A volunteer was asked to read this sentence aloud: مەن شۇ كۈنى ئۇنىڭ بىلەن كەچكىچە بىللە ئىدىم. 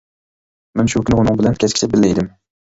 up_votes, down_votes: 0, 2